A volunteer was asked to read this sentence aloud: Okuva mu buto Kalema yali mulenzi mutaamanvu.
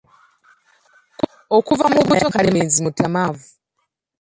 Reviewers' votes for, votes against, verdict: 0, 2, rejected